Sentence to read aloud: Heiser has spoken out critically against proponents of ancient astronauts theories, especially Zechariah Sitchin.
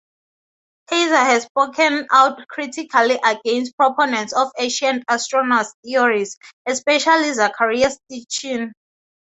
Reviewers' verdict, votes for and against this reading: accepted, 2, 0